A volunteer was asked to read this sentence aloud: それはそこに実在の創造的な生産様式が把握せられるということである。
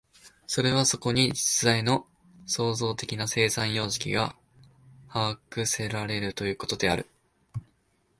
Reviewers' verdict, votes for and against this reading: accepted, 2, 0